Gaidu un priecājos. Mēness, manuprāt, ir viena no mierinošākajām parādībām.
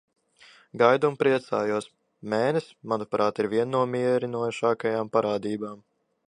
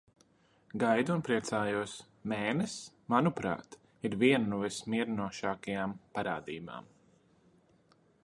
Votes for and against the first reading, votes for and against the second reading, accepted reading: 2, 0, 0, 2, first